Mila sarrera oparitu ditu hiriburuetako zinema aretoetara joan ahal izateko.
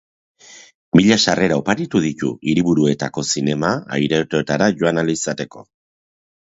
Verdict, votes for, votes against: rejected, 1, 2